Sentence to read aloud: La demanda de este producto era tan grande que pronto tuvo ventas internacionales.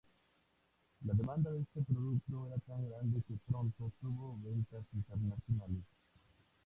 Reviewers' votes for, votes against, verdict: 0, 2, rejected